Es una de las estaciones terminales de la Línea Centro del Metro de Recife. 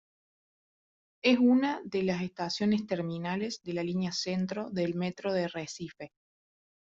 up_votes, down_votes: 0, 2